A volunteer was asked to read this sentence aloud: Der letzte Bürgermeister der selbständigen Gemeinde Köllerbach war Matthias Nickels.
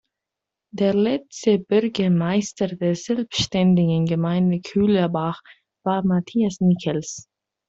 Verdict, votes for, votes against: accepted, 2, 1